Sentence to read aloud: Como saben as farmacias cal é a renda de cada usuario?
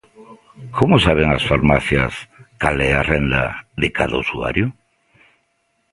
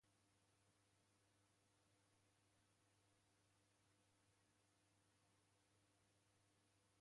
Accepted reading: first